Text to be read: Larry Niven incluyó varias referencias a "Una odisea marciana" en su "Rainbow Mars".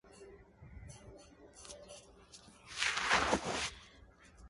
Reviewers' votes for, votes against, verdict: 0, 2, rejected